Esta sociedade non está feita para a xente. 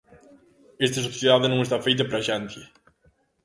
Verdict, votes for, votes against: accepted, 2, 1